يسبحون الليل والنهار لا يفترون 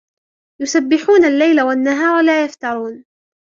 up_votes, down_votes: 1, 2